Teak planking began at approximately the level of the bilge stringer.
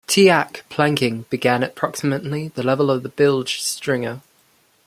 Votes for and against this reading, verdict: 1, 2, rejected